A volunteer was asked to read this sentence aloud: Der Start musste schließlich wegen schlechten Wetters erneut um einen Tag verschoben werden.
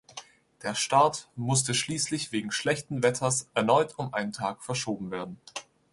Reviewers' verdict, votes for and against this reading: accepted, 2, 0